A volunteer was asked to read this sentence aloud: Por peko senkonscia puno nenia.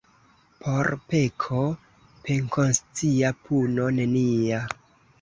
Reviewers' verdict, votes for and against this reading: rejected, 0, 2